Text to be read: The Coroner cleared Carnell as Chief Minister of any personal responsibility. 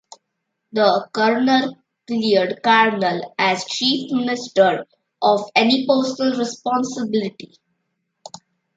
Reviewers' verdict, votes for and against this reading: rejected, 0, 2